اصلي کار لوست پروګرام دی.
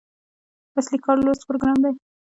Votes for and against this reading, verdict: 0, 2, rejected